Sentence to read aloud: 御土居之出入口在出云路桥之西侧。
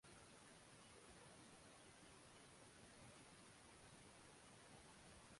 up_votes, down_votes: 0, 2